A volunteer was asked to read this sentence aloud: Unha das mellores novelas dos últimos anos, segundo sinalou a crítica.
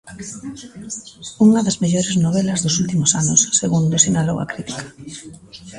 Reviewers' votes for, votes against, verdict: 0, 2, rejected